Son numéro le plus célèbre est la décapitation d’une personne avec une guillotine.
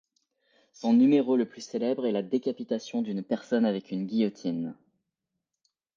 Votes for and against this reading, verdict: 2, 0, accepted